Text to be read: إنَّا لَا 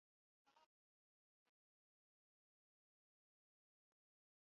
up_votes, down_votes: 1, 2